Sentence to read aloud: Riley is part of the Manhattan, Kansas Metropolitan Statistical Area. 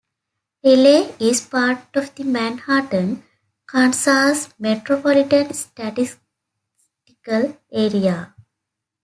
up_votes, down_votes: 0, 2